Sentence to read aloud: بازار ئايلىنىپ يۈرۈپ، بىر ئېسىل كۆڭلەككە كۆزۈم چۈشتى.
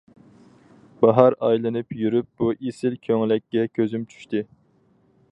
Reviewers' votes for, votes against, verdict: 0, 4, rejected